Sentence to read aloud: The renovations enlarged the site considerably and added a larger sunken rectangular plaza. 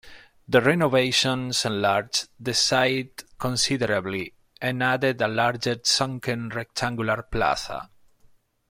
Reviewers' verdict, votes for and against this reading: rejected, 0, 2